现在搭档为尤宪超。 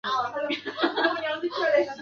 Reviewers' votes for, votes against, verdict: 0, 2, rejected